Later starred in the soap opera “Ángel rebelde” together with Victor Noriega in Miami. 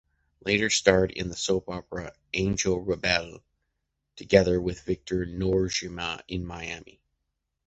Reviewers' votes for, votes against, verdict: 0, 2, rejected